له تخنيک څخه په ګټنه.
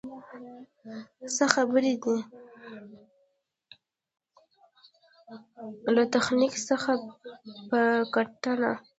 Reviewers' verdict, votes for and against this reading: rejected, 0, 2